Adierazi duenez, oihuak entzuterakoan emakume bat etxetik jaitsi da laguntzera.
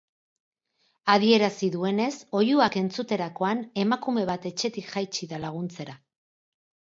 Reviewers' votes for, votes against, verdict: 4, 0, accepted